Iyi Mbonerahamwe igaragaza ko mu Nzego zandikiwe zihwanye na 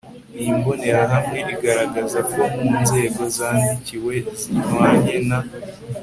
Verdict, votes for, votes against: accepted, 2, 0